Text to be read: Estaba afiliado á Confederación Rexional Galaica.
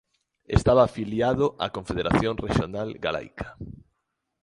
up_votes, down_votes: 2, 1